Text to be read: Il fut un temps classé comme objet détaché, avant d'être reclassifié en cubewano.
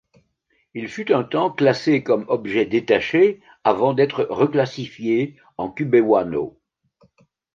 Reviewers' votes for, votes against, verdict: 2, 0, accepted